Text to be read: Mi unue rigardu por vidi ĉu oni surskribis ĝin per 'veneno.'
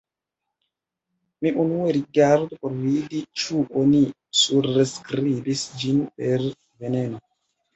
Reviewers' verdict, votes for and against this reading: rejected, 0, 2